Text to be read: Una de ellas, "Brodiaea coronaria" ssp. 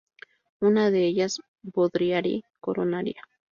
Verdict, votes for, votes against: rejected, 0, 2